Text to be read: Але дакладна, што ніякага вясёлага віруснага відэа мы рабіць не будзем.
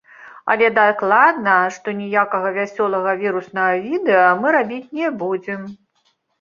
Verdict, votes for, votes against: rejected, 1, 2